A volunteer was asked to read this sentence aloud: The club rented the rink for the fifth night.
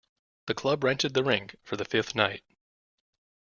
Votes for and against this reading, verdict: 2, 1, accepted